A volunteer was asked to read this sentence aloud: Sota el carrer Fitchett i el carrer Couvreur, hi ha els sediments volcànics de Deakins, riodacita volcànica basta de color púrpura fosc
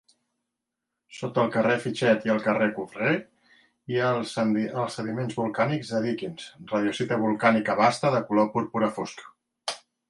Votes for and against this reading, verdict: 0, 2, rejected